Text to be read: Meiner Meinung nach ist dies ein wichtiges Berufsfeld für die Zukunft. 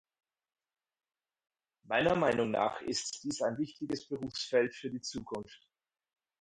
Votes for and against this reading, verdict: 4, 2, accepted